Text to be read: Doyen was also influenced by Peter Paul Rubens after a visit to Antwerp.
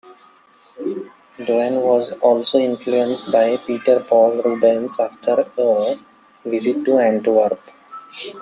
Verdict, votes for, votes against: rejected, 0, 2